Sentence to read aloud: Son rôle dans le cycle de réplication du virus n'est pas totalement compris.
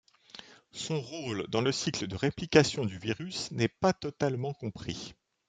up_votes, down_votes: 4, 0